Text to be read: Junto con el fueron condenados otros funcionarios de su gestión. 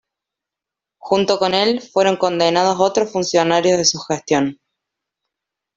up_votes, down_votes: 2, 0